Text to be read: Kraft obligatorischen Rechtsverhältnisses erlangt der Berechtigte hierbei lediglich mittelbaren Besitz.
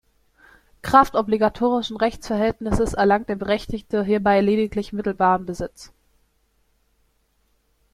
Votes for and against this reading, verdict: 3, 0, accepted